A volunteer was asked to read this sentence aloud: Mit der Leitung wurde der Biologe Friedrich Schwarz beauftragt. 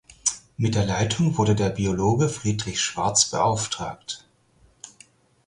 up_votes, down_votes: 4, 0